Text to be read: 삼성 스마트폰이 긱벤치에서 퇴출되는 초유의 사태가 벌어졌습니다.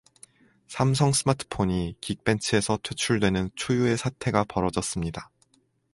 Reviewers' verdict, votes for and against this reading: accepted, 2, 0